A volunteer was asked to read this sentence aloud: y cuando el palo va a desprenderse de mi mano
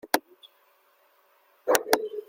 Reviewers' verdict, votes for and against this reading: rejected, 0, 2